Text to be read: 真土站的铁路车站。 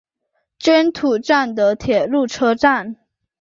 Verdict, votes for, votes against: accepted, 5, 0